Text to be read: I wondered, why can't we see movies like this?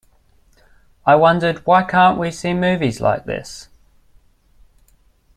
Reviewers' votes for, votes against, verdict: 2, 0, accepted